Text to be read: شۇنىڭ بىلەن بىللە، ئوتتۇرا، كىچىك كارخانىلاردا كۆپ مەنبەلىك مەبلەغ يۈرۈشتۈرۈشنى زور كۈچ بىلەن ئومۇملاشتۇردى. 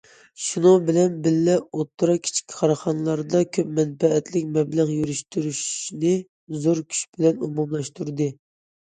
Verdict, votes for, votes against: accepted, 2, 0